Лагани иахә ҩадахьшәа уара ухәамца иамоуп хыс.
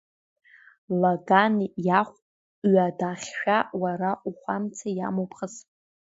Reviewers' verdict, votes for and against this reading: accepted, 2, 0